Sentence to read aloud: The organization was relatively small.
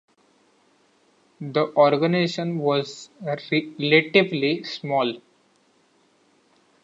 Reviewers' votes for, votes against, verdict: 1, 2, rejected